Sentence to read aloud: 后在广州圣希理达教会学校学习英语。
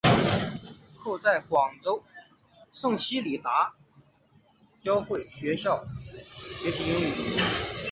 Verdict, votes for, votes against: accepted, 2, 0